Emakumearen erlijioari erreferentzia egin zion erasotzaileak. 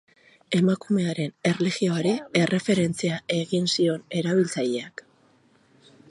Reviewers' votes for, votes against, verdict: 2, 2, rejected